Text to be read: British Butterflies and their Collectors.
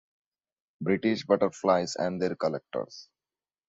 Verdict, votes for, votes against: accepted, 2, 0